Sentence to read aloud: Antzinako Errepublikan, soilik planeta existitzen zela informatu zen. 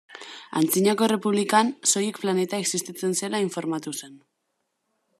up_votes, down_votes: 2, 0